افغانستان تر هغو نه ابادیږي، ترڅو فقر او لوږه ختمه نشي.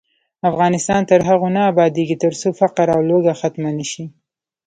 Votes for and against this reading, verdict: 1, 2, rejected